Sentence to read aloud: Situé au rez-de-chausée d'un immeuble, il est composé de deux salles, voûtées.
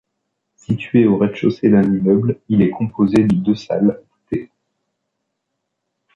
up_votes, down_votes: 1, 2